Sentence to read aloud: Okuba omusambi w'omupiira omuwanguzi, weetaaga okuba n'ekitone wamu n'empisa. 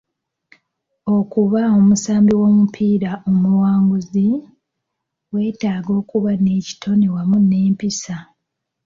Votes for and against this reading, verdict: 2, 0, accepted